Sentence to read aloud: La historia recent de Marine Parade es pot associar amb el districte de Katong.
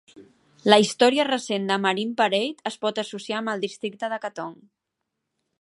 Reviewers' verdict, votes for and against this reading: accepted, 2, 0